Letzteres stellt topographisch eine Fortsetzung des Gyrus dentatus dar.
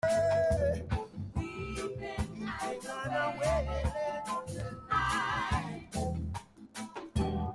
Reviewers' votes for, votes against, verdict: 0, 2, rejected